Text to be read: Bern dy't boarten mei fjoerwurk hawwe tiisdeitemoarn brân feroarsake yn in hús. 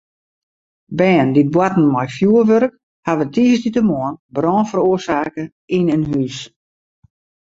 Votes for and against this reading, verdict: 2, 0, accepted